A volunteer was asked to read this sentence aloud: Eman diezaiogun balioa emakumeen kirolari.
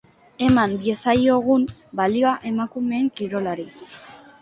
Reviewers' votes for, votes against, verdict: 2, 0, accepted